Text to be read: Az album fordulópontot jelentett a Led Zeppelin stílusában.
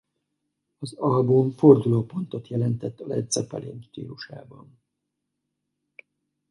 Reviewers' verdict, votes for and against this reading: rejected, 2, 2